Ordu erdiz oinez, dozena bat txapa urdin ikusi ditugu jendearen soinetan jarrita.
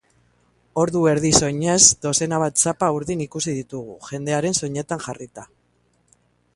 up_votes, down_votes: 7, 0